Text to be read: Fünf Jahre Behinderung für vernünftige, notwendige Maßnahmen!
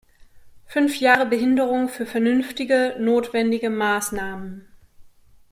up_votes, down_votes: 2, 0